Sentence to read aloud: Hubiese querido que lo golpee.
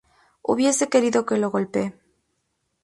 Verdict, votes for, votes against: accepted, 2, 0